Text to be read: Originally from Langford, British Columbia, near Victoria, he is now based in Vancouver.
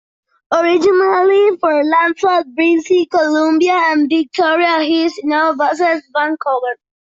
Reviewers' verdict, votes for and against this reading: rejected, 0, 2